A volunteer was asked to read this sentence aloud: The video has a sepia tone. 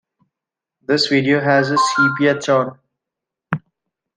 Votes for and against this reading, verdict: 1, 2, rejected